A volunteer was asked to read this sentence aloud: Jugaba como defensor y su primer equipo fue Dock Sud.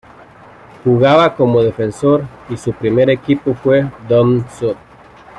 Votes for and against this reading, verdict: 1, 2, rejected